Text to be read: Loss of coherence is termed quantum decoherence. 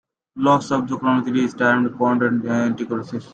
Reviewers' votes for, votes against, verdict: 0, 2, rejected